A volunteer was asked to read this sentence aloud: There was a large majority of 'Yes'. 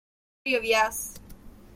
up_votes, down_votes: 0, 2